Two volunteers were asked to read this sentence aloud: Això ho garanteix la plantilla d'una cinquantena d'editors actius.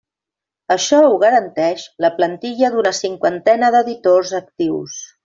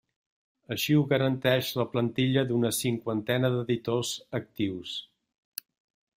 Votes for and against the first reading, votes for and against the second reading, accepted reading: 3, 0, 0, 2, first